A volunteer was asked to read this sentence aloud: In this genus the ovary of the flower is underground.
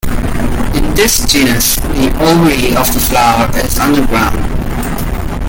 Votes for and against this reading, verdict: 2, 1, accepted